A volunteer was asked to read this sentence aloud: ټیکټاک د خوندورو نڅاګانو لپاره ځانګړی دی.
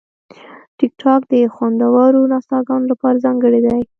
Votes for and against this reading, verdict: 2, 0, accepted